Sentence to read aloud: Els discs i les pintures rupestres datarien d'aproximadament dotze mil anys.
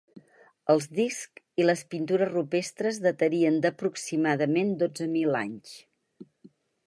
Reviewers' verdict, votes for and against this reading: accepted, 4, 0